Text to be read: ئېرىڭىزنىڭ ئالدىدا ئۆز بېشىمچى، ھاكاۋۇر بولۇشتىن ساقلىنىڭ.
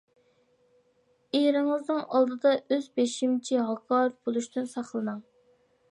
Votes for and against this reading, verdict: 2, 1, accepted